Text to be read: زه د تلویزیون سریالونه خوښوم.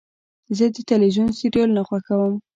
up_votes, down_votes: 2, 1